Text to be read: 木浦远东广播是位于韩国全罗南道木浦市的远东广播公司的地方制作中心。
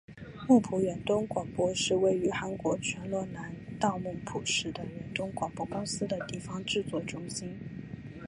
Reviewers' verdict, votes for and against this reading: accepted, 2, 0